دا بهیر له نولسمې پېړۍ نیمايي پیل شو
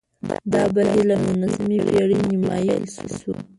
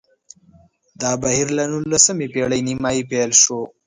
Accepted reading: second